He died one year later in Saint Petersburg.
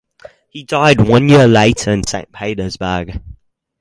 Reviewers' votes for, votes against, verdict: 4, 0, accepted